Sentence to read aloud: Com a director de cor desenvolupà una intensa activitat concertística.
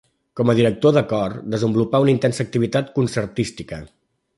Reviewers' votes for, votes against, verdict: 3, 0, accepted